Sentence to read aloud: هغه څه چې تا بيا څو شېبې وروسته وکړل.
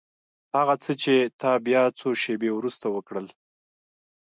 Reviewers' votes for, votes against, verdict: 2, 1, accepted